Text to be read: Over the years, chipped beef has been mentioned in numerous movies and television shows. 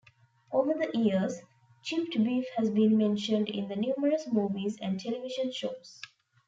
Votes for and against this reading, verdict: 1, 2, rejected